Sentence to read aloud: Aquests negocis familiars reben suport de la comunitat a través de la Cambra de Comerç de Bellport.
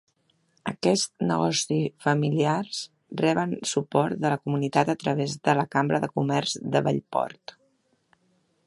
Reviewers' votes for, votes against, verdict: 1, 3, rejected